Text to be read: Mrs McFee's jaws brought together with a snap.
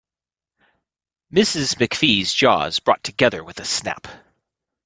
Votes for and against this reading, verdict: 2, 0, accepted